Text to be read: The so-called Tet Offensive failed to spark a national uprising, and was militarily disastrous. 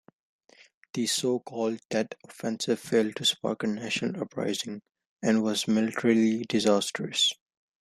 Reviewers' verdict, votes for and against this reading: accepted, 2, 1